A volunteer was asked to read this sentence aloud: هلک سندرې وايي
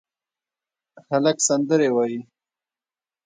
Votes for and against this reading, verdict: 0, 2, rejected